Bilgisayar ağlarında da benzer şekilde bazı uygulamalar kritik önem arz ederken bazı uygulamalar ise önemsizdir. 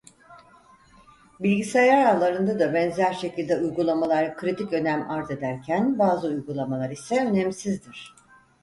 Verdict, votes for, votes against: rejected, 0, 4